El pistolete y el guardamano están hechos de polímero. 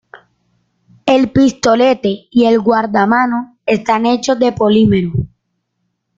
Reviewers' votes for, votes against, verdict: 2, 1, accepted